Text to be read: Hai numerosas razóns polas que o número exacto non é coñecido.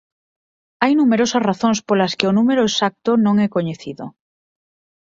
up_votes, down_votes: 4, 0